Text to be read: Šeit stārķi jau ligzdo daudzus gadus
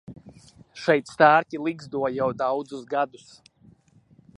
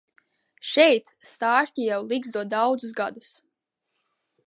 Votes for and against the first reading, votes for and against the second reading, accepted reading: 0, 2, 2, 0, second